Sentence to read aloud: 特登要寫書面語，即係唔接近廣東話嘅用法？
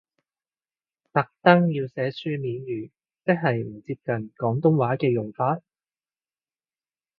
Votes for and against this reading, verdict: 2, 0, accepted